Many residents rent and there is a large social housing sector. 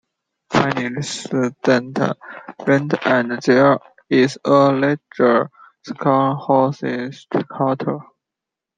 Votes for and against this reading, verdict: 0, 2, rejected